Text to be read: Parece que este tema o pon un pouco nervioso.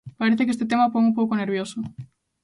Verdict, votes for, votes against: accepted, 3, 0